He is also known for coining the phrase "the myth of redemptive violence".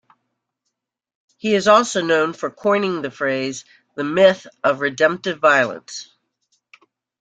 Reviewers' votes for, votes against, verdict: 2, 0, accepted